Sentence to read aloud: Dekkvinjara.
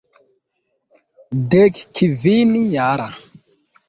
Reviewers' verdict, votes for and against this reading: rejected, 1, 2